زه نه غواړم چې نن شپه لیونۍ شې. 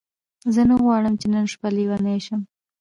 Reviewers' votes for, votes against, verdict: 2, 0, accepted